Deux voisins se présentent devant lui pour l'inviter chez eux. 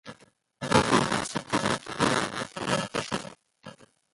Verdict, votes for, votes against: rejected, 0, 2